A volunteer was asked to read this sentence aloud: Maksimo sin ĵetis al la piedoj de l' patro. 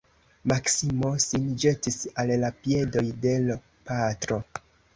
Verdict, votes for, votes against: rejected, 0, 2